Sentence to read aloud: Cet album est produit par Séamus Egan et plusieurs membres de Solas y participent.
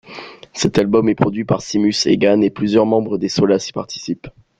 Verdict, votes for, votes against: accepted, 3, 0